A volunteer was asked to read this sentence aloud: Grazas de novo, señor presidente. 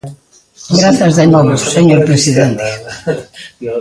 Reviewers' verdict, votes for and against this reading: accepted, 2, 0